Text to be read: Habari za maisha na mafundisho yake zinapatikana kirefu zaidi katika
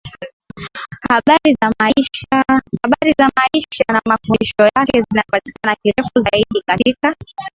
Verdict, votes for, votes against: accepted, 2, 1